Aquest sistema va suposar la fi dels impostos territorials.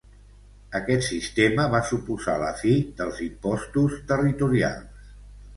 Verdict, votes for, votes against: accepted, 2, 0